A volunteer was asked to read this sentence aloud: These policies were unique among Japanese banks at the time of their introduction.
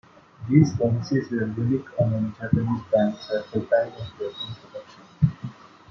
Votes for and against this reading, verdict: 1, 2, rejected